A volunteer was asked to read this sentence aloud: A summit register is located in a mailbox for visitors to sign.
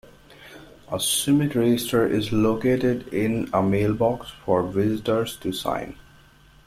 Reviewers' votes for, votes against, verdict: 1, 2, rejected